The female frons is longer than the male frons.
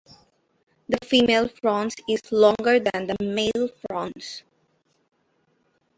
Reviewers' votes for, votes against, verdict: 2, 0, accepted